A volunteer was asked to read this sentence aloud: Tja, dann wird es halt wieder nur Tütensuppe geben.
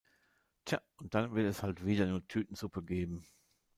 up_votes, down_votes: 2, 0